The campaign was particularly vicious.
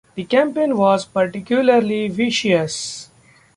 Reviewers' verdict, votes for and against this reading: accepted, 2, 0